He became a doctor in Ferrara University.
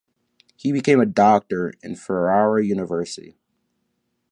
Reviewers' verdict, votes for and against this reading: accepted, 2, 0